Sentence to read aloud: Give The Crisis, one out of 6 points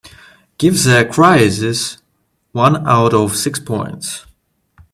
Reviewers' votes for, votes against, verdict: 0, 2, rejected